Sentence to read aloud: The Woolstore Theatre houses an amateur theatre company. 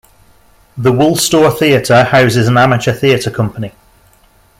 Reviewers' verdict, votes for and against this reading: accepted, 2, 0